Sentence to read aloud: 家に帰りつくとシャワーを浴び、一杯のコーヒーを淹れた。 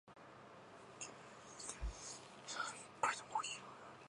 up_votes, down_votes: 2, 2